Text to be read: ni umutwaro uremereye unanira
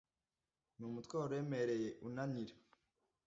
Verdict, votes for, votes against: accepted, 2, 0